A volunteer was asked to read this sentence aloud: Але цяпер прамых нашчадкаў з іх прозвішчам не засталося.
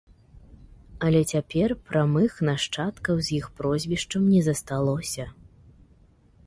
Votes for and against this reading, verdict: 2, 0, accepted